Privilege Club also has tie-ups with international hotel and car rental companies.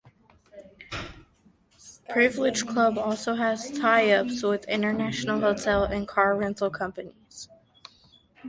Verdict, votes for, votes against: accepted, 2, 0